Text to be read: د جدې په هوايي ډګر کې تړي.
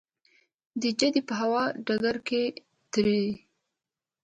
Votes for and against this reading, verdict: 1, 2, rejected